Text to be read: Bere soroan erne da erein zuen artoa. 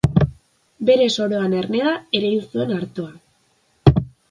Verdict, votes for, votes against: rejected, 1, 2